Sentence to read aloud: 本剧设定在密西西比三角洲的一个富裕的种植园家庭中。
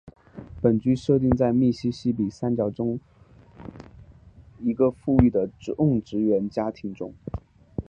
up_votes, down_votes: 5, 0